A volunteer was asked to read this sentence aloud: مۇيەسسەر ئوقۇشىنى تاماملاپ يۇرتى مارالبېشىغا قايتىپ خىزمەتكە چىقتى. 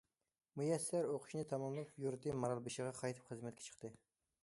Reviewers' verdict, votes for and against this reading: accepted, 2, 0